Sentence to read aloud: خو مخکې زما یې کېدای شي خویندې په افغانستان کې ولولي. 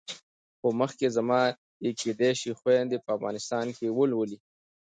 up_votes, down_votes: 2, 0